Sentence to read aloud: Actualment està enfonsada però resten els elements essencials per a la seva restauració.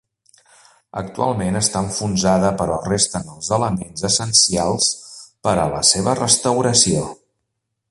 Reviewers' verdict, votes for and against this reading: accepted, 3, 0